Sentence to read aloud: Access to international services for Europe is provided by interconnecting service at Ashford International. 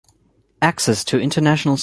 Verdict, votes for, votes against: rejected, 0, 4